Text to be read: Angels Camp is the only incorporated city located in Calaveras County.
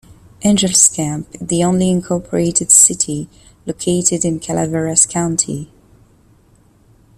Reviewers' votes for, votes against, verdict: 0, 2, rejected